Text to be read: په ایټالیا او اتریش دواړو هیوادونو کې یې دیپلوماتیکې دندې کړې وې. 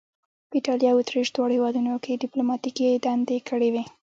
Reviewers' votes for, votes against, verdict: 2, 1, accepted